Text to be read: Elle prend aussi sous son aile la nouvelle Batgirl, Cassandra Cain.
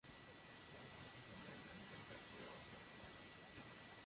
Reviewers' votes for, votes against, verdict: 0, 2, rejected